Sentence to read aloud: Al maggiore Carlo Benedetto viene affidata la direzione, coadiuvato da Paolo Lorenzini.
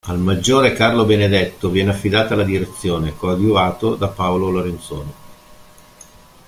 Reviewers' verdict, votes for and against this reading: rejected, 1, 2